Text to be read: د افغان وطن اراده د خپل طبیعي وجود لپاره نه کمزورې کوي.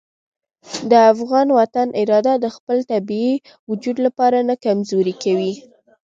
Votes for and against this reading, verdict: 2, 0, accepted